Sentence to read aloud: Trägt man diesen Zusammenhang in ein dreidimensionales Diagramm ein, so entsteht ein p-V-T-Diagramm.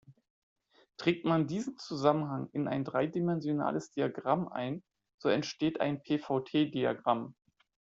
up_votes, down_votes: 2, 0